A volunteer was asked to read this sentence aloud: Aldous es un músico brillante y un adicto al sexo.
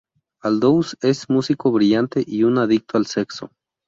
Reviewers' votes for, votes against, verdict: 0, 2, rejected